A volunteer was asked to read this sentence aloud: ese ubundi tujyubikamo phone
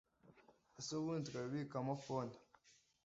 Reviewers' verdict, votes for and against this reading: rejected, 1, 2